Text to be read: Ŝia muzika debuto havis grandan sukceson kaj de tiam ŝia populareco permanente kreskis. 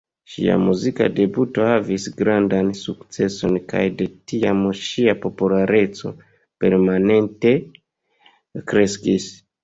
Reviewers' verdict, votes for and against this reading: accepted, 2, 1